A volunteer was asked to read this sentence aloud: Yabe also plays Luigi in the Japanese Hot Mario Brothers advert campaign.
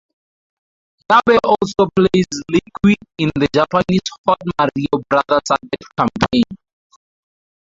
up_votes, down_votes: 0, 2